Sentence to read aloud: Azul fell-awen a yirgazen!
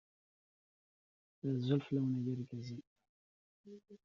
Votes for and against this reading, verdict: 0, 2, rejected